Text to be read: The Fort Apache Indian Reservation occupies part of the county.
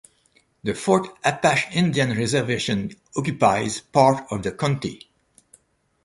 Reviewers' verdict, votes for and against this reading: accepted, 2, 0